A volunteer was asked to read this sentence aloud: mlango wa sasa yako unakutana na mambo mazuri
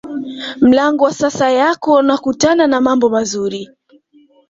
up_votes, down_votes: 2, 1